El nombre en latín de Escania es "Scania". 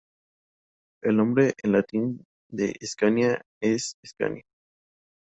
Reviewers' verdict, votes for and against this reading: accepted, 2, 0